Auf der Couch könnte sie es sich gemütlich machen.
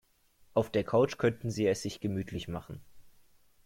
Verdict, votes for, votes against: rejected, 0, 2